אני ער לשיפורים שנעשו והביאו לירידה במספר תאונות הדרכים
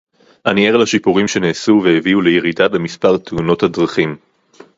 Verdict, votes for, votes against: rejected, 0, 2